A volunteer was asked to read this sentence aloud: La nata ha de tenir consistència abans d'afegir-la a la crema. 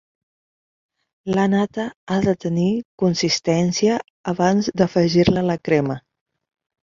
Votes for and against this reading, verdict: 2, 4, rejected